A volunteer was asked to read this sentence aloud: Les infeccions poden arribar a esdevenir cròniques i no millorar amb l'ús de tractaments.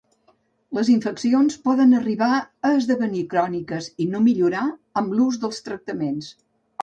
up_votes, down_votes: 1, 2